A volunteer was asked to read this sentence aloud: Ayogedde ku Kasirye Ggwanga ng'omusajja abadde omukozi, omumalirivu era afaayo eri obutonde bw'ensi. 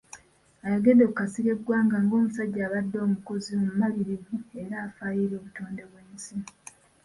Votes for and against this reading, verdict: 2, 0, accepted